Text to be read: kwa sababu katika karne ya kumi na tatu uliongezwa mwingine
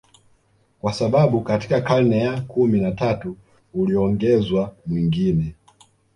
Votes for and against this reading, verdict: 1, 2, rejected